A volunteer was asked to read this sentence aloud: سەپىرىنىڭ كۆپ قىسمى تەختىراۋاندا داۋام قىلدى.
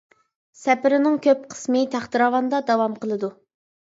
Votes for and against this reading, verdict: 1, 2, rejected